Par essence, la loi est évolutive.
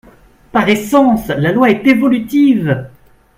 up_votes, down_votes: 3, 1